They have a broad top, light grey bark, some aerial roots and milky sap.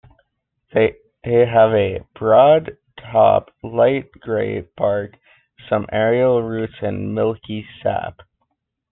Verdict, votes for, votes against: rejected, 1, 2